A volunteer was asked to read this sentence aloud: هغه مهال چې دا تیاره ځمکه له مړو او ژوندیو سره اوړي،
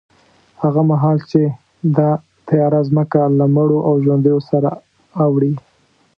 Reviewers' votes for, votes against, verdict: 0, 2, rejected